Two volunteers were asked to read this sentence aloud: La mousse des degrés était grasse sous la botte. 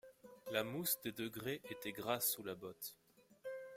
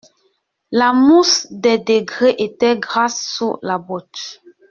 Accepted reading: first